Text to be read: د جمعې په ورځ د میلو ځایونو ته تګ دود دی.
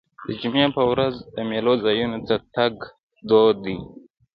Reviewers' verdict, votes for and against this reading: accepted, 2, 0